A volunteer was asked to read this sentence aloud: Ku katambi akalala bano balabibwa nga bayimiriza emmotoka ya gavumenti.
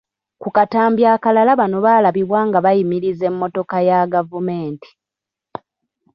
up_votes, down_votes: 1, 2